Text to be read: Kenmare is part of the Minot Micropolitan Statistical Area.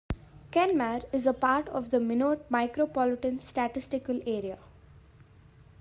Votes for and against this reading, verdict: 1, 2, rejected